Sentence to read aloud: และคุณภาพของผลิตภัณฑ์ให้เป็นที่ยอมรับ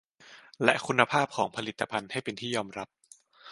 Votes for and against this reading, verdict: 2, 0, accepted